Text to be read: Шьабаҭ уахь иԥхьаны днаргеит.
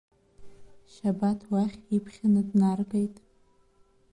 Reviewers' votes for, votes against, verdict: 1, 2, rejected